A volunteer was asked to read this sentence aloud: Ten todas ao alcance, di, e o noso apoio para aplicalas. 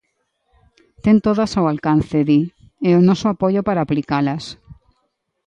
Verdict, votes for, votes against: accepted, 2, 0